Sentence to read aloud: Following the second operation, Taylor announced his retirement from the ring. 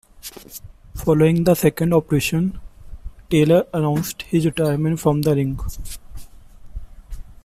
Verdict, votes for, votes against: accepted, 2, 1